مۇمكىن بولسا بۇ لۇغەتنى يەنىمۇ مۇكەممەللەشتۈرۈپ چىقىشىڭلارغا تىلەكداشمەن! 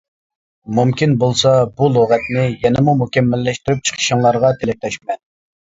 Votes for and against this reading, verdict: 2, 0, accepted